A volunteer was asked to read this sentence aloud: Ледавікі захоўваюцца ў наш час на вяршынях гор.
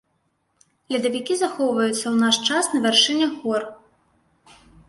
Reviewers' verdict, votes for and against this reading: accepted, 2, 0